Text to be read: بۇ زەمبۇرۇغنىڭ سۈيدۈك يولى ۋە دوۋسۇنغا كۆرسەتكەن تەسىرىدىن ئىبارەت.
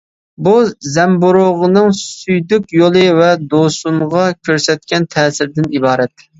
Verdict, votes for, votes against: accepted, 2, 0